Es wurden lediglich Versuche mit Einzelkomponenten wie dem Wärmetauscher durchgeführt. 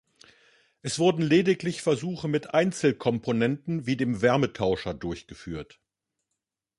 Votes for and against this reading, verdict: 2, 0, accepted